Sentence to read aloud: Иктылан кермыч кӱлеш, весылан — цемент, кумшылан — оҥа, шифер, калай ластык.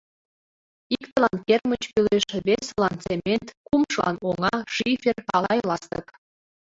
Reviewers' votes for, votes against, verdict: 0, 2, rejected